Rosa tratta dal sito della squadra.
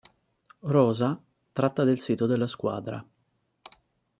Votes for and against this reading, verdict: 1, 2, rejected